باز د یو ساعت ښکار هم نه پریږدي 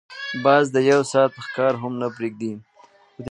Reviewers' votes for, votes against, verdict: 1, 2, rejected